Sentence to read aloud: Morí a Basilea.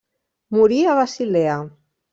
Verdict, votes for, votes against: rejected, 1, 2